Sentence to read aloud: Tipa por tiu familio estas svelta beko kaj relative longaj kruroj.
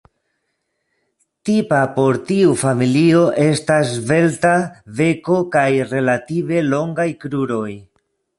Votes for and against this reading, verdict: 1, 2, rejected